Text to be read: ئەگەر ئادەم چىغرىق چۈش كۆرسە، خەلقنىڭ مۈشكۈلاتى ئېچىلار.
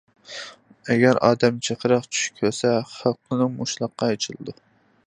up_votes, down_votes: 0, 2